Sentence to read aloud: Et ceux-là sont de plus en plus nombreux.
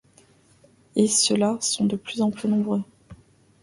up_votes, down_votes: 2, 0